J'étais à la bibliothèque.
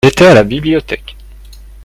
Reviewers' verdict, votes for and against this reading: rejected, 0, 2